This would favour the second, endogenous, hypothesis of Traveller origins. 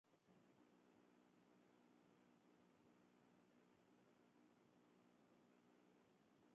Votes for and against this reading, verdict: 0, 2, rejected